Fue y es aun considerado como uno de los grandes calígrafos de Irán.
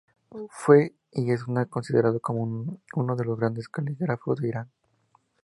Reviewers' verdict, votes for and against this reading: rejected, 2, 4